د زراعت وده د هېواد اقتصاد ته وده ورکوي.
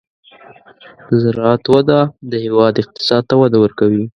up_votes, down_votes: 2, 0